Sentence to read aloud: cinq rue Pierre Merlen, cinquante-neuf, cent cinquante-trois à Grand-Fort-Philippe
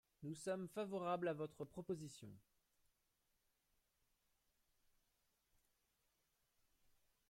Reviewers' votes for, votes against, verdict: 0, 2, rejected